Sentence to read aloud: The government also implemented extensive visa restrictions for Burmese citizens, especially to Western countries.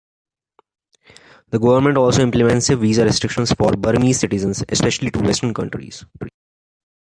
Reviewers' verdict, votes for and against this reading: accepted, 2, 0